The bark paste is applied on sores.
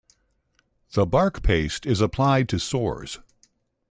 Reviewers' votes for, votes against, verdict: 0, 2, rejected